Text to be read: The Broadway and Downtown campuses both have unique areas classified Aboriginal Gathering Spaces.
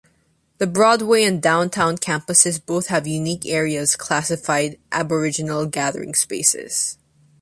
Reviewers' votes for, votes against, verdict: 2, 0, accepted